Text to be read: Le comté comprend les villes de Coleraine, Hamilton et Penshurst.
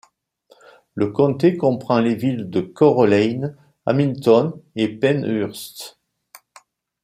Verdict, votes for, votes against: rejected, 1, 2